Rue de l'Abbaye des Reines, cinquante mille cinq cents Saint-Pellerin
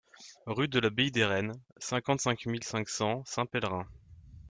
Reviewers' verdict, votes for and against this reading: rejected, 0, 2